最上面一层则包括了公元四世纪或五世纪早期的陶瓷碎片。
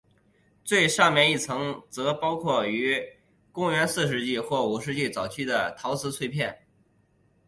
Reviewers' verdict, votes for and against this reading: rejected, 1, 2